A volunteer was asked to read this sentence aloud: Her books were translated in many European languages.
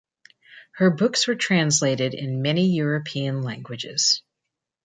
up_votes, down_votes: 2, 0